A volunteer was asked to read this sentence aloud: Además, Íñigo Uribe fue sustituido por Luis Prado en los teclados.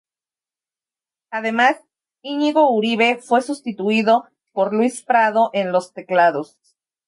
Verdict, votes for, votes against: accepted, 2, 0